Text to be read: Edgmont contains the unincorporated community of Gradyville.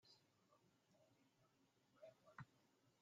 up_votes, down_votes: 0, 2